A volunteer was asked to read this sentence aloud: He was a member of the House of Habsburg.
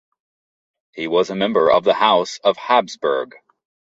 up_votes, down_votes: 1, 2